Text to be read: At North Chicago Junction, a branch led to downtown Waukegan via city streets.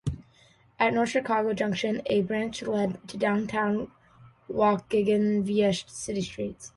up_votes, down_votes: 2, 0